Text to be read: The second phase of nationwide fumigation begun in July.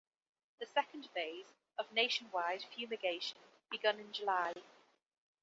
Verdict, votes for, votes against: accepted, 2, 0